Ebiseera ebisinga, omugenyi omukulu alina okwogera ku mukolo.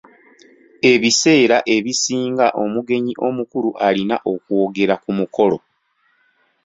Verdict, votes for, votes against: rejected, 0, 2